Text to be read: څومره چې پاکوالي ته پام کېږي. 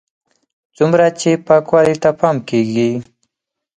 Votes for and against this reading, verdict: 4, 0, accepted